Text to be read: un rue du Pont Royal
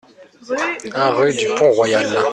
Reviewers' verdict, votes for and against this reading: rejected, 0, 2